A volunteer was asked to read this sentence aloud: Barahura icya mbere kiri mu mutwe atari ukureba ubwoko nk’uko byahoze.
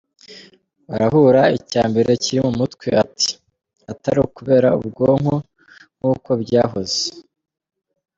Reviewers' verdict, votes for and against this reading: rejected, 1, 2